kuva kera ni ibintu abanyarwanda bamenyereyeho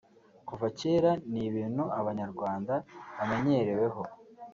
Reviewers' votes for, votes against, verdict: 1, 2, rejected